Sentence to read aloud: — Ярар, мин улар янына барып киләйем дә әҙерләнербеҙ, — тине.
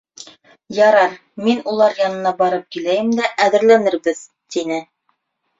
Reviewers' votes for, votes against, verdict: 2, 0, accepted